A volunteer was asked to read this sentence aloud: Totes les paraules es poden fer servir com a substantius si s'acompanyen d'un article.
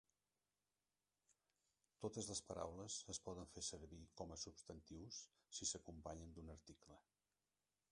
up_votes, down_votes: 0, 2